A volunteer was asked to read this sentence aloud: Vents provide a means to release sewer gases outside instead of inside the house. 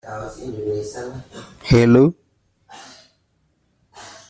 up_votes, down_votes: 0, 2